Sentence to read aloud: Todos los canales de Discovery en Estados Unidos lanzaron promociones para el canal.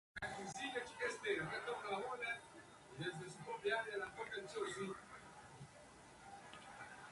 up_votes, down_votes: 0, 2